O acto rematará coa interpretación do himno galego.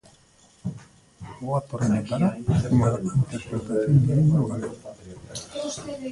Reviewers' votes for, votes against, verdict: 0, 2, rejected